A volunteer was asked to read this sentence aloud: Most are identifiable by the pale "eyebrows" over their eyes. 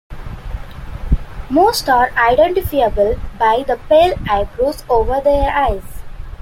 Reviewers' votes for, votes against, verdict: 2, 1, accepted